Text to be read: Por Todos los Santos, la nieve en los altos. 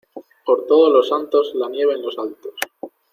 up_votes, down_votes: 2, 0